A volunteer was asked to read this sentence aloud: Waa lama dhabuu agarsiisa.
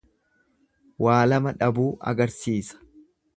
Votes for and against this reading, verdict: 2, 0, accepted